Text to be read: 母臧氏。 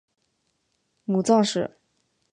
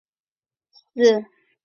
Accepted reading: first